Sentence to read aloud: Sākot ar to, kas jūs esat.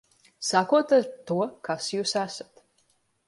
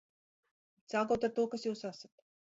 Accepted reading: first